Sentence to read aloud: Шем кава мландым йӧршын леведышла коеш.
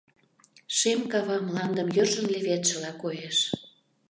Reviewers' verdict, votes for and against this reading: rejected, 1, 2